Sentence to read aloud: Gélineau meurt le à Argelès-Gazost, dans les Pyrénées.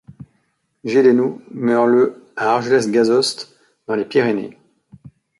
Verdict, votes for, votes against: rejected, 1, 2